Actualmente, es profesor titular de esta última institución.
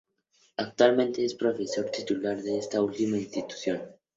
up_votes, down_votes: 2, 0